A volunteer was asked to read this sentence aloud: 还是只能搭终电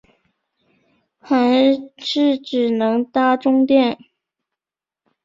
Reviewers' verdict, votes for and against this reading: accepted, 2, 0